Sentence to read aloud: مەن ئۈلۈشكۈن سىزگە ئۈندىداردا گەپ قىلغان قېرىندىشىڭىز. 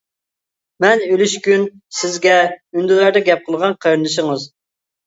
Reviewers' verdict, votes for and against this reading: rejected, 0, 2